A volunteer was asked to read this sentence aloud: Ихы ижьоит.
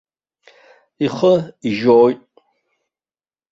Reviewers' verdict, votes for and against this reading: rejected, 1, 2